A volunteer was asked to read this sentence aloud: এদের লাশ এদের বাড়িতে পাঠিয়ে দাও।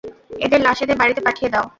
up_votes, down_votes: 0, 2